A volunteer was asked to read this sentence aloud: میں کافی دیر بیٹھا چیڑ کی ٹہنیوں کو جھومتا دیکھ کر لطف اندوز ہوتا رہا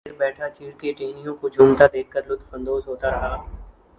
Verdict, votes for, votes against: rejected, 1, 2